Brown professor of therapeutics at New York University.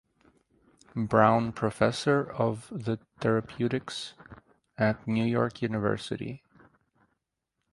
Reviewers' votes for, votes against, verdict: 0, 4, rejected